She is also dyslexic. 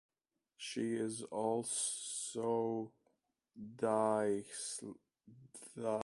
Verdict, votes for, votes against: rejected, 0, 2